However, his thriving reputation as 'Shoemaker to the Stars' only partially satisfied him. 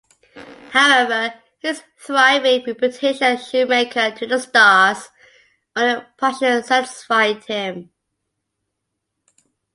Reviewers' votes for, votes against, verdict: 2, 0, accepted